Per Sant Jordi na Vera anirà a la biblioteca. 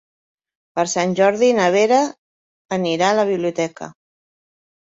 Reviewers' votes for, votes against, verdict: 3, 0, accepted